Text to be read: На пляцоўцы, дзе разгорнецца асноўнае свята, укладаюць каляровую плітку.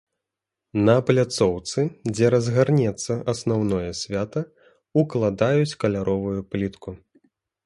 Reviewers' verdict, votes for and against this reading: rejected, 1, 2